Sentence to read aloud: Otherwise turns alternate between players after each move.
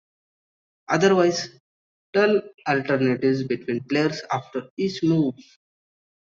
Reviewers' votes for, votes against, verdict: 0, 2, rejected